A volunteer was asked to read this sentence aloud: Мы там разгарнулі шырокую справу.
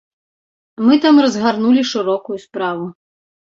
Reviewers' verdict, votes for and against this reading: accepted, 2, 0